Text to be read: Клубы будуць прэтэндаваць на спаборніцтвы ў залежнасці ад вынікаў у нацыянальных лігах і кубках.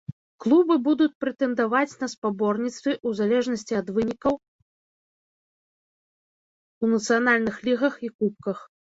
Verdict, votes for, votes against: rejected, 0, 2